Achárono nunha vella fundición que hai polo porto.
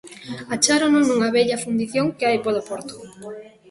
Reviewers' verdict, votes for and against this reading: rejected, 1, 2